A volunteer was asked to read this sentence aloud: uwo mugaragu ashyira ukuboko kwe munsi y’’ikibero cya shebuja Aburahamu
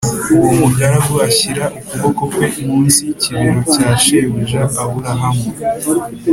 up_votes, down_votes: 5, 0